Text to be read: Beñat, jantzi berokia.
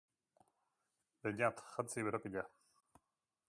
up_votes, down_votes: 3, 1